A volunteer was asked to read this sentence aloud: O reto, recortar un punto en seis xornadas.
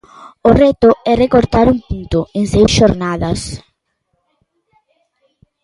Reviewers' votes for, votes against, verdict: 0, 2, rejected